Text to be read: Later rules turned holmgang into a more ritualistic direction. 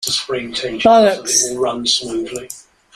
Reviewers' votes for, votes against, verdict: 0, 2, rejected